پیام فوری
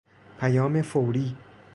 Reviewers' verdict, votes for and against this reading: accepted, 2, 0